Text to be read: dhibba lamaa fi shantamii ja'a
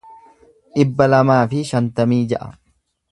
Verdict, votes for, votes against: accepted, 2, 0